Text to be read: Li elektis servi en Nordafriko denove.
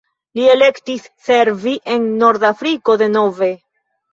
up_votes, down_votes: 2, 0